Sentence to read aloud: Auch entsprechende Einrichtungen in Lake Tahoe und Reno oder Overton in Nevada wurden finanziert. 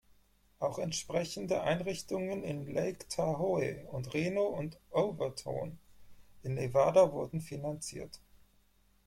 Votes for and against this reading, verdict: 0, 4, rejected